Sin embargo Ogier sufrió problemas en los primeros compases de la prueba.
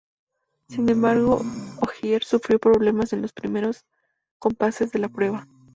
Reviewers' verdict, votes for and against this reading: accepted, 2, 0